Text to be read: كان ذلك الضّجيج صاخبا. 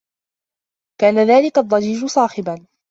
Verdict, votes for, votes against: accepted, 2, 0